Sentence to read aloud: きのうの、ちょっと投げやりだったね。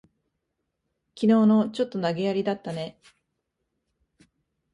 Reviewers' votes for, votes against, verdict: 2, 0, accepted